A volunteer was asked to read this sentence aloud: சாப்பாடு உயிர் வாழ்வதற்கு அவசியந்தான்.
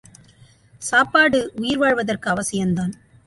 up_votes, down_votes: 2, 0